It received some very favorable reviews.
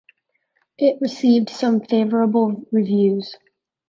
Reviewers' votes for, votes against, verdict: 0, 2, rejected